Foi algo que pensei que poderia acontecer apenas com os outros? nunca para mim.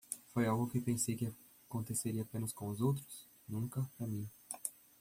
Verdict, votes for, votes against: rejected, 0, 2